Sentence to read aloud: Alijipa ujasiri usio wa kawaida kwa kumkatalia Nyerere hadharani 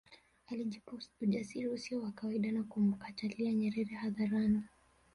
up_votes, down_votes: 1, 2